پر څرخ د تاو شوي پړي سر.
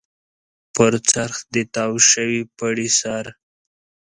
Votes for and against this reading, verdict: 2, 0, accepted